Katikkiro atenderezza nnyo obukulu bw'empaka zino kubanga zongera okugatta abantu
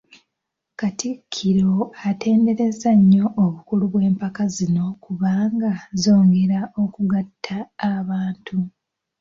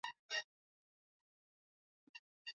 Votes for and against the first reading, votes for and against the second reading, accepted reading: 2, 1, 0, 3, first